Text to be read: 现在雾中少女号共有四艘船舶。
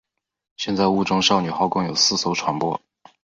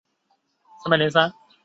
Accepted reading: first